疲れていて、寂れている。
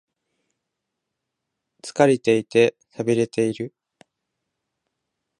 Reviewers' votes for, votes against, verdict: 4, 0, accepted